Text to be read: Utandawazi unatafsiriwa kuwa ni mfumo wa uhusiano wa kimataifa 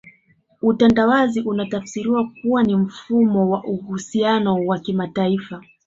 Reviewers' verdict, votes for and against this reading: accepted, 4, 0